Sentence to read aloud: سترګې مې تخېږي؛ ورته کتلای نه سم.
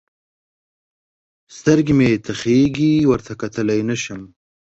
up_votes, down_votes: 21, 0